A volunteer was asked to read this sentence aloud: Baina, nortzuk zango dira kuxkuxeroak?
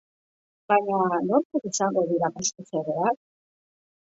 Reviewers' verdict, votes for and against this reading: rejected, 2, 3